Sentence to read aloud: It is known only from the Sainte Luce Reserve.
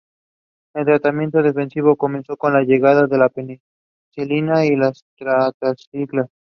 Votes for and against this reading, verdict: 0, 2, rejected